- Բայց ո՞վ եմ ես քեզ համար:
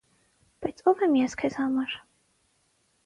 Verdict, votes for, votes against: accepted, 6, 0